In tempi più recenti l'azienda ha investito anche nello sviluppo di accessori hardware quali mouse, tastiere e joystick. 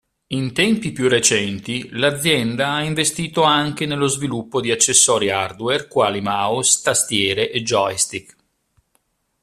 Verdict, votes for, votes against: accepted, 2, 0